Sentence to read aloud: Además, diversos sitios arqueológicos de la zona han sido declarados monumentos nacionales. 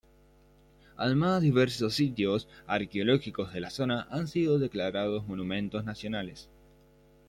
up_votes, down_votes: 2, 1